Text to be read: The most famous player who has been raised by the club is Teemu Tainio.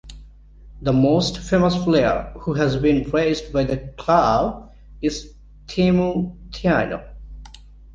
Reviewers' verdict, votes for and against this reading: rejected, 1, 2